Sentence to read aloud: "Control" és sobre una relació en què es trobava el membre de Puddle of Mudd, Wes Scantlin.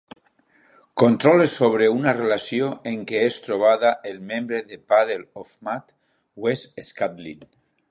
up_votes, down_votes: 2, 0